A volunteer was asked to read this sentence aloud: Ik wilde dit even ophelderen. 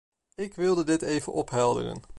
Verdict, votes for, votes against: accepted, 2, 0